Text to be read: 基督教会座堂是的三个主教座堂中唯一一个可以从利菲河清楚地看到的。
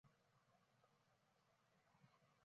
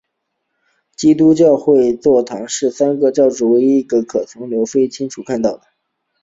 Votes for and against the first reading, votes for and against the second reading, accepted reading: 0, 2, 2, 0, second